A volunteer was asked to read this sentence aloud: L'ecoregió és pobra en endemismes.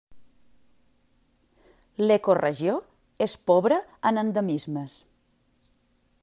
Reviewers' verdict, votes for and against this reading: accepted, 2, 1